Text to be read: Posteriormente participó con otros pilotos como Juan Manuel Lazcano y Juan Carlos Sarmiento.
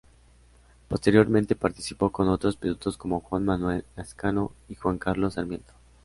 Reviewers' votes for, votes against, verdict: 2, 0, accepted